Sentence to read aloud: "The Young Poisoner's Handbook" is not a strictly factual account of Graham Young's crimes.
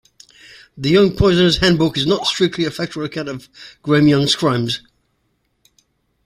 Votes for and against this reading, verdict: 1, 2, rejected